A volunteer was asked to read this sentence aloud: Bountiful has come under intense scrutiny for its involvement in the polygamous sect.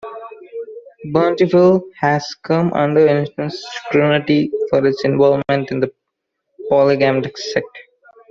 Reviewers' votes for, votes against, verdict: 0, 2, rejected